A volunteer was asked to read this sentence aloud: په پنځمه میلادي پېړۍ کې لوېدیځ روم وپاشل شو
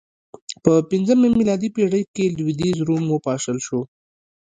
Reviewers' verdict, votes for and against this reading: accepted, 2, 0